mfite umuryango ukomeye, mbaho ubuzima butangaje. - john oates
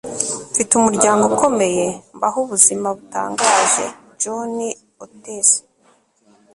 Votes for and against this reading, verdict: 2, 0, accepted